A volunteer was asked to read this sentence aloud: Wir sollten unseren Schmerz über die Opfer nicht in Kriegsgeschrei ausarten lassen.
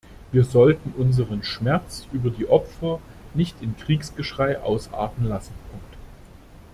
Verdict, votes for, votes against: rejected, 1, 2